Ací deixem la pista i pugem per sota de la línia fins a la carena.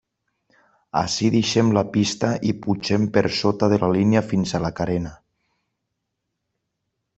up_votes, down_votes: 3, 0